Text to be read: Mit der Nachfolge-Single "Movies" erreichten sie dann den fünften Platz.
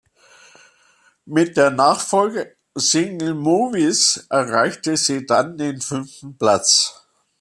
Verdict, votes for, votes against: rejected, 1, 2